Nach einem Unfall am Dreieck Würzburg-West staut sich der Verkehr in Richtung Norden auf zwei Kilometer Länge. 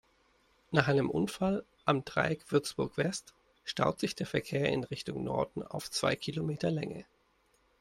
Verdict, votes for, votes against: accepted, 3, 0